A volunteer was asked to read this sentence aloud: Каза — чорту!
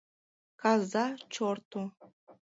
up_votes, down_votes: 2, 0